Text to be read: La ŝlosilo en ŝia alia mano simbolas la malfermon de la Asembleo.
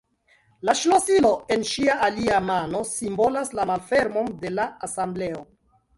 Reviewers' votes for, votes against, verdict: 0, 2, rejected